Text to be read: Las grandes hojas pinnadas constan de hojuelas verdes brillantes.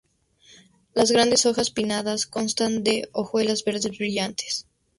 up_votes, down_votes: 2, 0